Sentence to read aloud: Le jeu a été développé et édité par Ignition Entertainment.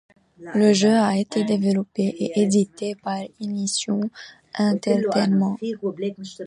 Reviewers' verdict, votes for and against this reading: rejected, 1, 2